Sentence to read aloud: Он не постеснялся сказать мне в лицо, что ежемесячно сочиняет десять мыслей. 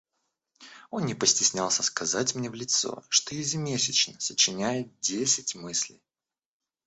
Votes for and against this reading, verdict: 1, 2, rejected